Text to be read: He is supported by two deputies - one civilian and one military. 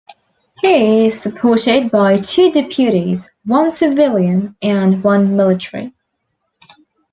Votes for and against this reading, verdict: 2, 0, accepted